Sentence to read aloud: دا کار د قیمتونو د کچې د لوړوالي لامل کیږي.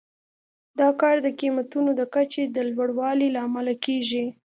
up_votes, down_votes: 2, 0